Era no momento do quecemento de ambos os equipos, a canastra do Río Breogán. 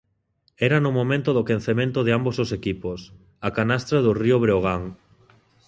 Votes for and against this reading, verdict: 1, 2, rejected